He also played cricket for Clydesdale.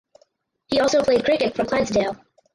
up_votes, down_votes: 2, 4